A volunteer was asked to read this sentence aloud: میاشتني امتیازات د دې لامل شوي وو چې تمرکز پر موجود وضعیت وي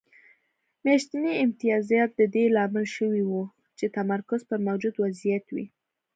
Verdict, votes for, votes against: accepted, 2, 0